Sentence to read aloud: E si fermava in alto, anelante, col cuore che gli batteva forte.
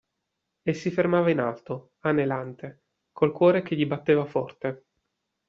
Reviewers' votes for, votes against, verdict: 2, 0, accepted